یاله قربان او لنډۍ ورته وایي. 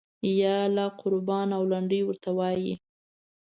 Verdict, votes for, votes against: accepted, 2, 0